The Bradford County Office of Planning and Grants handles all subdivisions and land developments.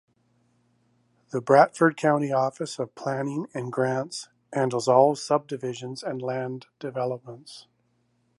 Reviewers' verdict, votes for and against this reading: rejected, 0, 2